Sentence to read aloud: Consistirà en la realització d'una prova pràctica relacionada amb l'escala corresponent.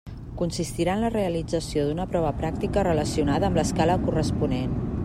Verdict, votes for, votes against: accepted, 3, 0